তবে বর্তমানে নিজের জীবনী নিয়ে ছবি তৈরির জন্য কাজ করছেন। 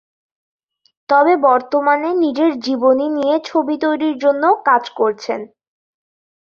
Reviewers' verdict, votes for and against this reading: accepted, 11, 2